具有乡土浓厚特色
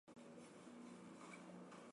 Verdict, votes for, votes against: rejected, 0, 4